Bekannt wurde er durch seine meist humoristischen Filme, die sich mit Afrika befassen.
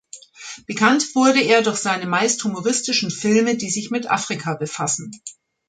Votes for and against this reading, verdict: 2, 0, accepted